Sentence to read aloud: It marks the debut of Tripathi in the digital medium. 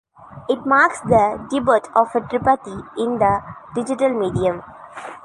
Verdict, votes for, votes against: rejected, 0, 2